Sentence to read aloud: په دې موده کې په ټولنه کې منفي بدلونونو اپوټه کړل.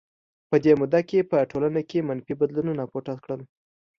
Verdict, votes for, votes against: accepted, 2, 0